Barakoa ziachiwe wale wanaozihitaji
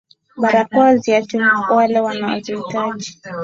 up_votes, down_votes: 1, 2